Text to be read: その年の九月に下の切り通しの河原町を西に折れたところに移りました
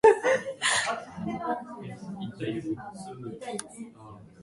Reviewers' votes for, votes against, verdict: 0, 2, rejected